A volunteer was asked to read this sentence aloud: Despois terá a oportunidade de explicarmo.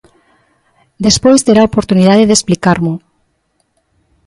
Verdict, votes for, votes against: accepted, 2, 1